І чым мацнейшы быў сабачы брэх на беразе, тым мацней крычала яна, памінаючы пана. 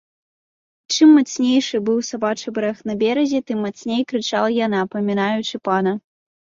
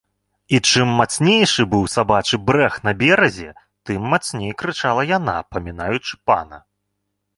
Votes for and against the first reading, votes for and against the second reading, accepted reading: 0, 2, 2, 0, second